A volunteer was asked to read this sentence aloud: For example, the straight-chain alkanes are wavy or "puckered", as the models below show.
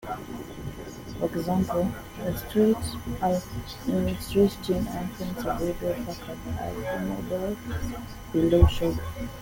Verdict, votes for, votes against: rejected, 0, 2